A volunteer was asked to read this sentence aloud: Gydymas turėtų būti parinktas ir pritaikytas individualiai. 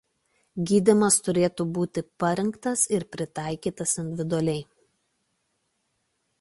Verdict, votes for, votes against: accepted, 2, 0